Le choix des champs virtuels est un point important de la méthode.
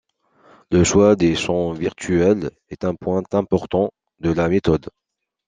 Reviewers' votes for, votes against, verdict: 2, 0, accepted